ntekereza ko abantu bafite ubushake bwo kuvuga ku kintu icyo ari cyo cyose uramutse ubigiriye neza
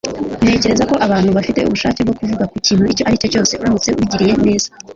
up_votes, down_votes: 1, 2